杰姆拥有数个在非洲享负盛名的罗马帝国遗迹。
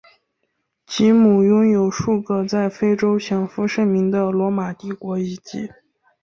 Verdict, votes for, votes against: accepted, 3, 1